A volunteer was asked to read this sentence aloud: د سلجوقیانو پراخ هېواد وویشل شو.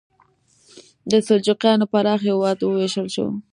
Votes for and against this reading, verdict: 2, 0, accepted